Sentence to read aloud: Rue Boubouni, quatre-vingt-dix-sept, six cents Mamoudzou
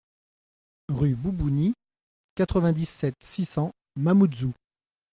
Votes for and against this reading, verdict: 2, 0, accepted